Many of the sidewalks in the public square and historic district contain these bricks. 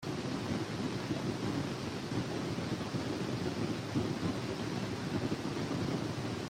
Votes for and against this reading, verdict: 0, 2, rejected